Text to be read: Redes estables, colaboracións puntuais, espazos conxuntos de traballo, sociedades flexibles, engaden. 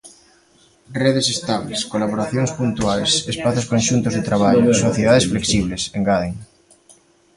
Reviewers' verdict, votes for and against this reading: rejected, 0, 2